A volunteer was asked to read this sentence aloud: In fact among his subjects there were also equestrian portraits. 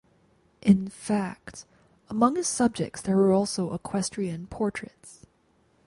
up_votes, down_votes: 0, 4